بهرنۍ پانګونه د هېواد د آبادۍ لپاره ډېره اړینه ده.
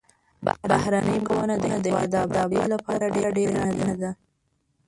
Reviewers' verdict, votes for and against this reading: rejected, 0, 2